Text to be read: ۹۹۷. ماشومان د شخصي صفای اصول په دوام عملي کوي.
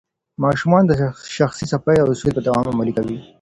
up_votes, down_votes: 0, 2